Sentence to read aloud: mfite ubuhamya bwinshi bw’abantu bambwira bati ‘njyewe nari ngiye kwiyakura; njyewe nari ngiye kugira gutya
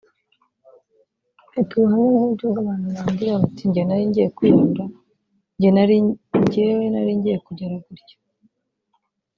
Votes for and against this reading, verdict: 0, 3, rejected